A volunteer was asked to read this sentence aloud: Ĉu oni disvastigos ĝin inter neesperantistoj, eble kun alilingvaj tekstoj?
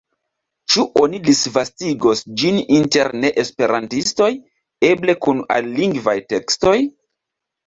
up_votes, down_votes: 2, 0